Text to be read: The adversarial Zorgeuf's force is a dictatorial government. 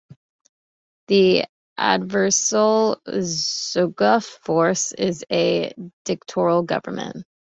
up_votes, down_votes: 0, 2